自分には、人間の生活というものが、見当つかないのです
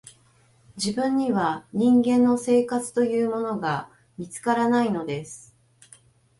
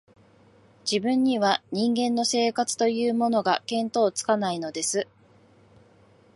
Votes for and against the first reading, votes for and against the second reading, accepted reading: 1, 2, 2, 0, second